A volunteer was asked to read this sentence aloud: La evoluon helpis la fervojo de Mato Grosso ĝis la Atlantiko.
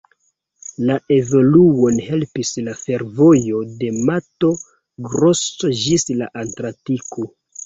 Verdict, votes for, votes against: rejected, 0, 2